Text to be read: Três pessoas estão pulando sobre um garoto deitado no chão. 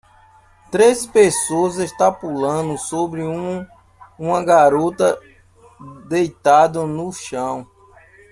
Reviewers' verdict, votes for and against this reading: rejected, 0, 2